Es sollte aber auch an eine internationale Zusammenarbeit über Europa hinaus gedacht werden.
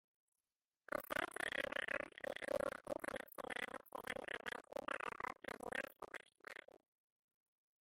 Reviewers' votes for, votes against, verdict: 0, 2, rejected